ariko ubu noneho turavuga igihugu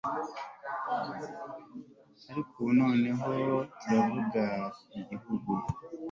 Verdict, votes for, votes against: accepted, 2, 0